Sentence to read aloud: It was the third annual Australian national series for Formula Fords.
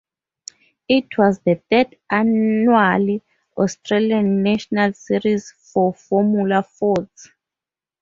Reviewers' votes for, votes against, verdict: 0, 2, rejected